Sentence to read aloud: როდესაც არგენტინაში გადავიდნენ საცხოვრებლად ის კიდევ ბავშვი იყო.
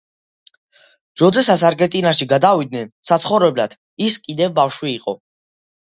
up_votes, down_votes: 2, 0